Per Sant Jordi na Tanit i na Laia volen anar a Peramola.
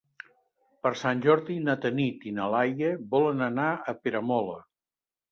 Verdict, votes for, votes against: accepted, 3, 0